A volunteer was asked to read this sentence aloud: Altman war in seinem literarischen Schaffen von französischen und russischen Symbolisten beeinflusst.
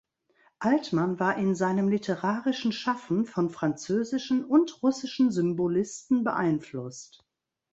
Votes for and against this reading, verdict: 2, 0, accepted